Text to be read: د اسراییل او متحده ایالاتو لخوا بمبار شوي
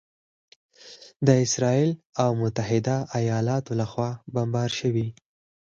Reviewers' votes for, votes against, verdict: 4, 0, accepted